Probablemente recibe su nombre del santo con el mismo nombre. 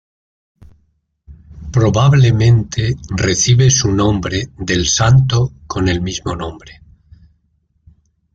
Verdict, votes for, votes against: accepted, 2, 1